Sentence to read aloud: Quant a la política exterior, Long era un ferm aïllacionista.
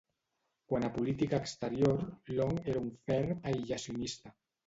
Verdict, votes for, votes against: rejected, 0, 2